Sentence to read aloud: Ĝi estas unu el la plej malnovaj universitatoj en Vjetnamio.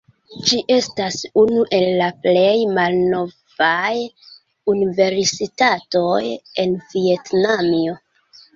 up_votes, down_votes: 0, 2